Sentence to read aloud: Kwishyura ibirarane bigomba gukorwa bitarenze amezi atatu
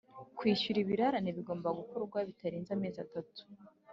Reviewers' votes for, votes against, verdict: 3, 0, accepted